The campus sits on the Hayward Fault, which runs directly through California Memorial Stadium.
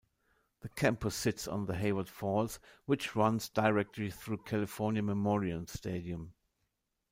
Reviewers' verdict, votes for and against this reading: accepted, 2, 0